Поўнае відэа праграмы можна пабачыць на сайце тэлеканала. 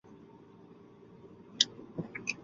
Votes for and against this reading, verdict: 0, 2, rejected